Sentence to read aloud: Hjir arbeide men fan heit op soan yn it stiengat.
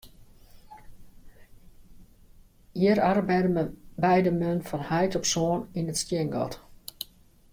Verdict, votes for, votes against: rejected, 0, 2